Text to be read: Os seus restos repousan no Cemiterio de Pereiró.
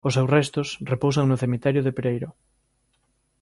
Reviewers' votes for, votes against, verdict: 2, 0, accepted